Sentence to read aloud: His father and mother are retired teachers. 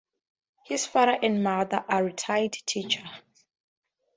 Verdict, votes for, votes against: rejected, 2, 2